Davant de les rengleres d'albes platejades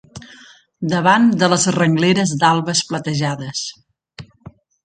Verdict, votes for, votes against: accepted, 2, 0